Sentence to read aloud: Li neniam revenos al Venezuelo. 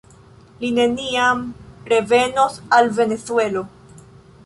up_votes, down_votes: 2, 0